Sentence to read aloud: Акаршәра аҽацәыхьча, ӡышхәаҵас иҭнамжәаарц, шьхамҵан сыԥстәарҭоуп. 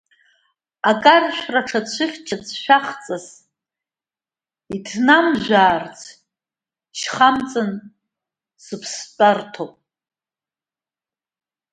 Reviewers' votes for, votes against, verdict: 0, 2, rejected